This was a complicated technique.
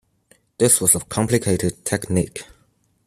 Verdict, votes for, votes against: accepted, 2, 0